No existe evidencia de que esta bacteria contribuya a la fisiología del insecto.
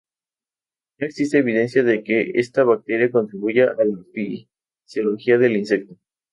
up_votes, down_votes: 0, 4